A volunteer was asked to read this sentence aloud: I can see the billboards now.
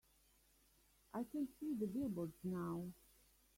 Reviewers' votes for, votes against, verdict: 1, 2, rejected